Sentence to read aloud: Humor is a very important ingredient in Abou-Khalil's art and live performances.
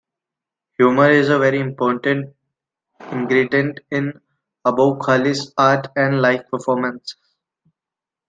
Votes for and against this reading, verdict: 2, 0, accepted